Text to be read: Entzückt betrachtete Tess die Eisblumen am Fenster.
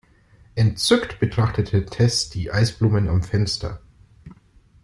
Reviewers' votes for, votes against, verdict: 2, 0, accepted